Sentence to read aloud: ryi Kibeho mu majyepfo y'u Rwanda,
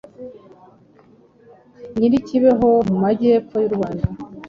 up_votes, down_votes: 1, 2